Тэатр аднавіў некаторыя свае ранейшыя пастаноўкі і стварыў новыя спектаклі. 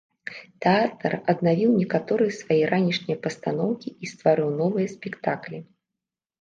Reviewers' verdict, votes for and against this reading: rejected, 0, 2